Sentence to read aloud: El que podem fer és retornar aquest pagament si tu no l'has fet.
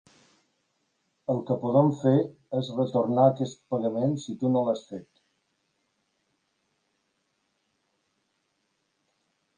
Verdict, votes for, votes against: accepted, 2, 0